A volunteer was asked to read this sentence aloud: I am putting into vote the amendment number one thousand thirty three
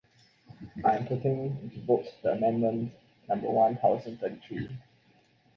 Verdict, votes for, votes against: rejected, 0, 2